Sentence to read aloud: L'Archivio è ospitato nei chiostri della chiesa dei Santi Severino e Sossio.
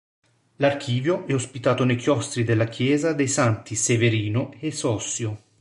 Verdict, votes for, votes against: accepted, 3, 0